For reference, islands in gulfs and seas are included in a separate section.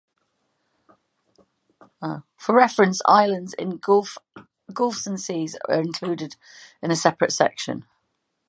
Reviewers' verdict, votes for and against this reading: rejected, 1, 2